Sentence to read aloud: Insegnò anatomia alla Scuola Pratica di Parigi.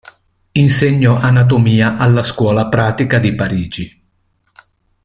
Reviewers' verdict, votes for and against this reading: accepted, 2, 0